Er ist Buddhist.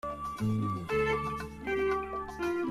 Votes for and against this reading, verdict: 0, 2, rejected